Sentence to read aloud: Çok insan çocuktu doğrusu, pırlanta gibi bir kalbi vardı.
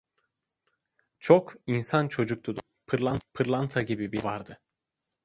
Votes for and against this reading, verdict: 0, 2, rejected